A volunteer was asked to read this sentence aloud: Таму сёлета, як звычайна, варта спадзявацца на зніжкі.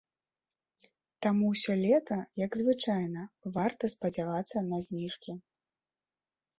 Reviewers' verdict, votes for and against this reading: rejected, 0, 2